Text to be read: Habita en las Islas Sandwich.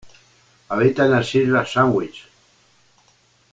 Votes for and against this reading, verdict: 2, 0, accepted